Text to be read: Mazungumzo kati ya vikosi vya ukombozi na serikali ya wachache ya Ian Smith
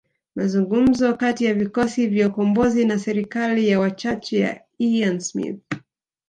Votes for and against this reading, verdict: 9, 0, accepted